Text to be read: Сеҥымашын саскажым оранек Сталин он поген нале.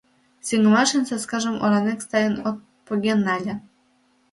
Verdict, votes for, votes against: rejected, 0, 2